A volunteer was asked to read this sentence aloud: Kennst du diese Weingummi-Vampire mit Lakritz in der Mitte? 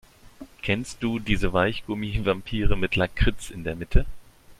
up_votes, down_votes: 0, 2